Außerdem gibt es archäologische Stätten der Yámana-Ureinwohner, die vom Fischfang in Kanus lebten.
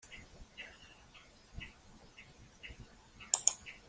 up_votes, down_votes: 0, 2